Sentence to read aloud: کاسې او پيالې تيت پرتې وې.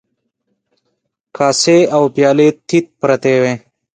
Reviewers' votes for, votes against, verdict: 2, 0, accepted